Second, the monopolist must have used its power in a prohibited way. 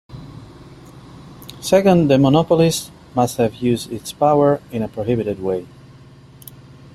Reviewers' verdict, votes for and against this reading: accepted, 2, 1